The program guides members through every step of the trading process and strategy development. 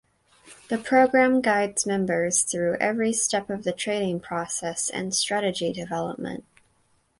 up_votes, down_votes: 4, 0